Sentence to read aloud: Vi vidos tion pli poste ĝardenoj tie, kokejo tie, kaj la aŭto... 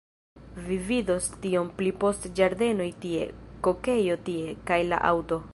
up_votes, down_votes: 2, 1